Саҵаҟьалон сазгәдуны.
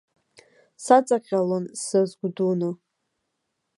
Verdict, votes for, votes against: rejected, 1, 2